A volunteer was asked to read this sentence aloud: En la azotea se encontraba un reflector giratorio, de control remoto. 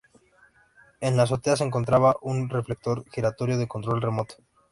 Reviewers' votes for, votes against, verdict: 2, 0, accepted